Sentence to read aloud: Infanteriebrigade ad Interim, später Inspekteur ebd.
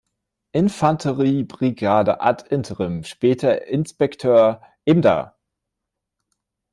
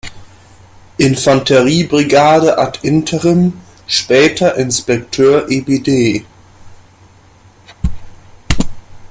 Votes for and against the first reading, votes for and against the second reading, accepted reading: 0, 2, 2, 0, second